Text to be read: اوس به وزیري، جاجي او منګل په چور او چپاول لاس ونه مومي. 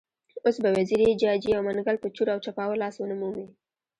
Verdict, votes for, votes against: rejected, 1, 2